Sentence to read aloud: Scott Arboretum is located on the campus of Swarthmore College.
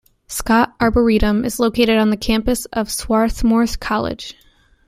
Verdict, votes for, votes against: rejected, 0, 2